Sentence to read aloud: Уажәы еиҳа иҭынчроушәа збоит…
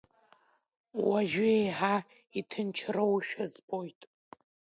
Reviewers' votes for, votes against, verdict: 1, 2, rejected